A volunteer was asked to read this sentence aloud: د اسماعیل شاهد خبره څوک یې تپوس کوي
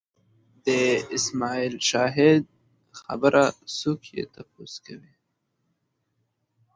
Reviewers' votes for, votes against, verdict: 2, 0, accepted